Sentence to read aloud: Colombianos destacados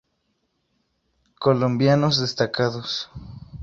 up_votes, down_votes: 2, 0